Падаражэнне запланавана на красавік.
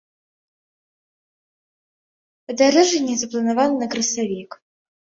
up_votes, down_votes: 0, 2